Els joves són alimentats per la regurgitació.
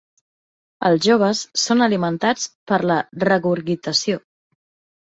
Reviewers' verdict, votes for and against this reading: rejected, 0, 2